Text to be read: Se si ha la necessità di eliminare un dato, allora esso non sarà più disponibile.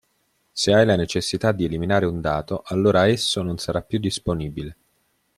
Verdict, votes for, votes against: rejected, 1, 2